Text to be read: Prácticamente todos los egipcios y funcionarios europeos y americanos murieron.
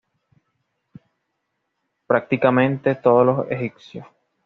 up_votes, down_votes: 1, 2